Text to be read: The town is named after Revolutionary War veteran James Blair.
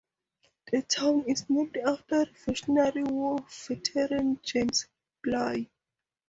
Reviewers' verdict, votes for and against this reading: rejected, 2, 2